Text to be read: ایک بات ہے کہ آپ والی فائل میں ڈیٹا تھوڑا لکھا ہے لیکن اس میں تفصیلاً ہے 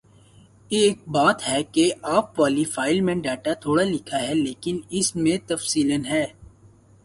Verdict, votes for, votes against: accepted, 2, 0